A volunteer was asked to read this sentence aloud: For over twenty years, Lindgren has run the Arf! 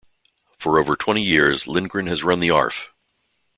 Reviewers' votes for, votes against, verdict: 2, 0, accepted